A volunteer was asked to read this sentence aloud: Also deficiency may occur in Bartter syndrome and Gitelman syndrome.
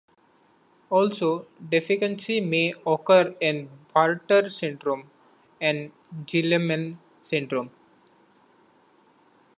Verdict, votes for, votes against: rejected, 1, 2